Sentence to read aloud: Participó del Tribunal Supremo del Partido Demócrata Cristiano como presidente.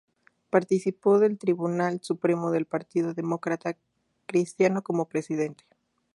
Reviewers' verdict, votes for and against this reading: rejected, 0, 2